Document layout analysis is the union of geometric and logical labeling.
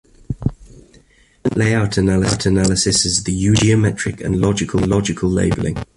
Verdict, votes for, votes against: rejected, 0, 2